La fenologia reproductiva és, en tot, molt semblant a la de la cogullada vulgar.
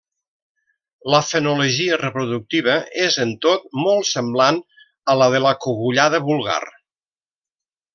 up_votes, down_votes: 3, 1